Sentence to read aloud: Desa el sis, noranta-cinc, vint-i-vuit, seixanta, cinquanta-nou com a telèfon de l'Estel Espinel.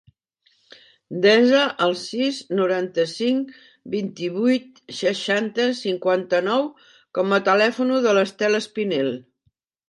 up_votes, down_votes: 1, 3